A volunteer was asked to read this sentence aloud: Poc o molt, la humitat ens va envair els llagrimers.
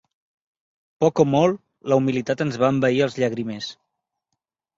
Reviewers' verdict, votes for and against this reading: rejected, 2, 3